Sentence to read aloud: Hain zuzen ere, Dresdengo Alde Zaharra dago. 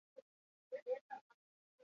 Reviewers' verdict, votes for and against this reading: rejected, 0, 4